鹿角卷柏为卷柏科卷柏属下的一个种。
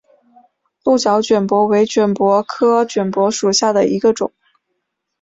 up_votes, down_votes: 3, 0